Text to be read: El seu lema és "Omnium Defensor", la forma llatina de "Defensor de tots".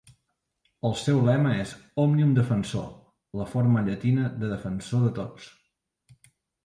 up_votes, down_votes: 2, 0